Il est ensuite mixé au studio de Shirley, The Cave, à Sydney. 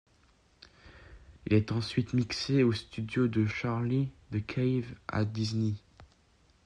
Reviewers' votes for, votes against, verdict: 0, 2, rejected